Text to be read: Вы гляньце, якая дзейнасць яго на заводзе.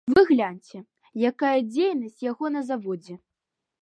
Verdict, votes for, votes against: accepted, 2, 0